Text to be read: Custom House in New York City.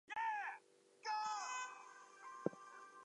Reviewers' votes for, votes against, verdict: 0, 2, rejected